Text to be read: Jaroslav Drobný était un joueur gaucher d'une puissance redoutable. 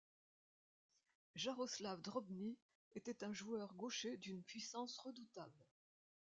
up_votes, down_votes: 1, 2